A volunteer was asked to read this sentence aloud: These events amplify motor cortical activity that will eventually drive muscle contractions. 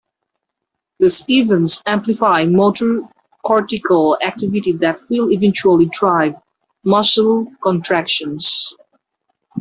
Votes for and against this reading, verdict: 1, 2, rejected